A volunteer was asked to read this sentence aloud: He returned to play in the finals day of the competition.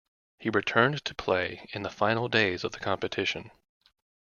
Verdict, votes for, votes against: rejected, 1, 2